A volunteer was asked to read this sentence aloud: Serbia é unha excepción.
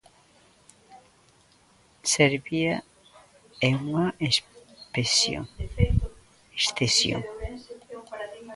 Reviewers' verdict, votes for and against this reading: rejected, 0, 2